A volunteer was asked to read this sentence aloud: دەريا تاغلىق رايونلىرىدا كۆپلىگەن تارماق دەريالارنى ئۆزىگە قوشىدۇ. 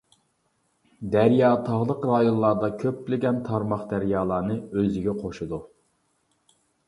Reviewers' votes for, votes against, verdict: 0, 2, rejected